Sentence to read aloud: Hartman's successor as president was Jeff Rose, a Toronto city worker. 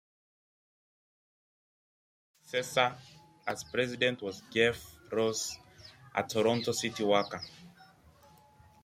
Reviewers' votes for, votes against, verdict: 0, 2, rejected